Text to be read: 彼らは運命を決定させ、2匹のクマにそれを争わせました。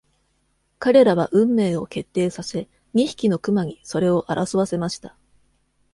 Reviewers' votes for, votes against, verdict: 0, 2, rejected